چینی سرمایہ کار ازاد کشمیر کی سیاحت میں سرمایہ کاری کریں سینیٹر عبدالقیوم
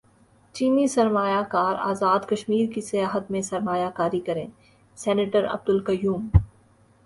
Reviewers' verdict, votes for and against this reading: accepted, 5, 1